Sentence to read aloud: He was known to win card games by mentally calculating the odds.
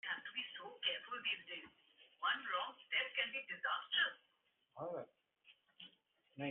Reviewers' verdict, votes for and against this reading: rejected, 0, 2